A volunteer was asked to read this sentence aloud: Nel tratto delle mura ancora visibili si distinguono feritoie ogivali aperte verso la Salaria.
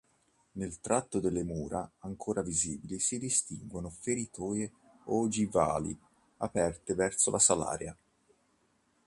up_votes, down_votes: 2, 0